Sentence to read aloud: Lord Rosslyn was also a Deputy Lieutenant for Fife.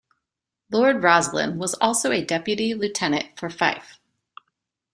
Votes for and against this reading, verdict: 2, 0, accepted